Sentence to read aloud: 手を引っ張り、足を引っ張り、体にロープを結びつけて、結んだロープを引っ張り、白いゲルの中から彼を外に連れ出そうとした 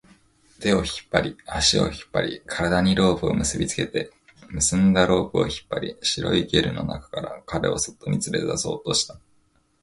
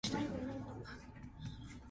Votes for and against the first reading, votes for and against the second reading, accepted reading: 2, 0, 0, 2, first